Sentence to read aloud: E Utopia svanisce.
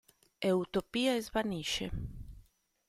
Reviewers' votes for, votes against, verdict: 2, 1, accepted